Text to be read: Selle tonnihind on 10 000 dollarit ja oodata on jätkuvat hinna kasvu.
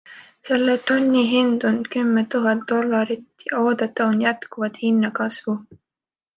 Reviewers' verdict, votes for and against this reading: rejected, 0, 2